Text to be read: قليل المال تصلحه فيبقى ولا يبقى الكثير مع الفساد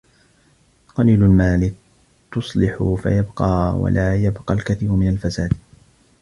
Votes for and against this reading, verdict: 0, 2, rejected